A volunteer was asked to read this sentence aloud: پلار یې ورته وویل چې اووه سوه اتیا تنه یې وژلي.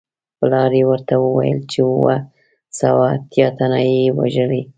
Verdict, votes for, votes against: accepted, 2, 0